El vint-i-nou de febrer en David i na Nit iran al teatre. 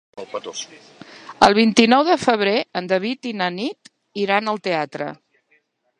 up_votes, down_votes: 3, 0